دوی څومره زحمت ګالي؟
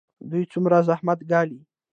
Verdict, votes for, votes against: accepted, 2, 0